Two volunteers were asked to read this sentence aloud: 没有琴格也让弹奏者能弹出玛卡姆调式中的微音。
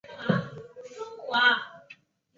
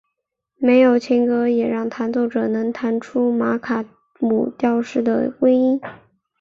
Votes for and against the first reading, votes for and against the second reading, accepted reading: 1, 6, 3, 0, second